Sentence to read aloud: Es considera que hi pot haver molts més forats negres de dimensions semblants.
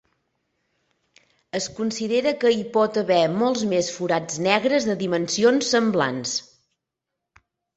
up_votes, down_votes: 2, 1